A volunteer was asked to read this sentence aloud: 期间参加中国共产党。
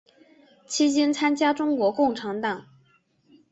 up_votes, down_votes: 2, 0